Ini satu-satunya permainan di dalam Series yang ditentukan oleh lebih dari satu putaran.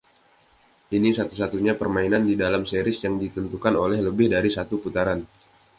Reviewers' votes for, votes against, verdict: 2, 0, accepted